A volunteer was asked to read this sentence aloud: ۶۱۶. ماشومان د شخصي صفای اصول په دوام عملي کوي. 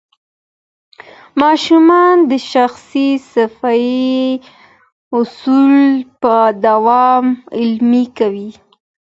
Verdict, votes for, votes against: rejected, 0, 2